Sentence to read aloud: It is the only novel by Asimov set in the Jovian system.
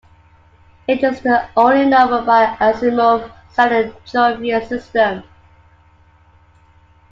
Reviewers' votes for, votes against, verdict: 2, 1, accepted